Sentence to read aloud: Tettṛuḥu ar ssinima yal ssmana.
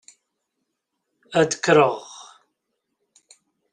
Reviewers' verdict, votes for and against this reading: rejected, 0, 2